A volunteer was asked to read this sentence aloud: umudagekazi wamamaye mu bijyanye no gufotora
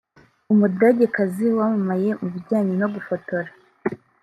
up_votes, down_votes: 0, 2